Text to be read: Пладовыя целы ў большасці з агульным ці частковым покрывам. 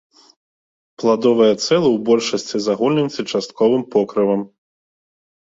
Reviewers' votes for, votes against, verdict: 0, 2, rejected